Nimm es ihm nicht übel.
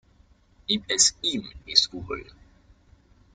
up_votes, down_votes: 1, 2